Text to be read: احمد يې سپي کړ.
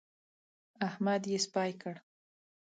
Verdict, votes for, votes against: accepted, 2, 0